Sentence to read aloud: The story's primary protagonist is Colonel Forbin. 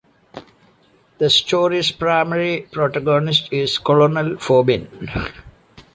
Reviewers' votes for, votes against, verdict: 0, 2, rejected